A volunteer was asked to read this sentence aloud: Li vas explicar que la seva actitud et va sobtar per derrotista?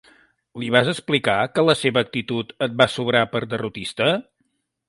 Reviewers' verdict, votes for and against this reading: rejected, 1, 2